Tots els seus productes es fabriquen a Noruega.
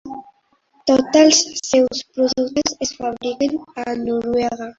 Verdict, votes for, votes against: rejected, 1, 2